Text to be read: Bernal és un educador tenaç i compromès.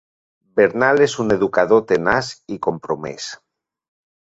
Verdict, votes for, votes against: accepted, 5, 0